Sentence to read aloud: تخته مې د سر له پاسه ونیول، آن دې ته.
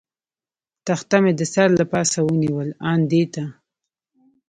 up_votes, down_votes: 1, 2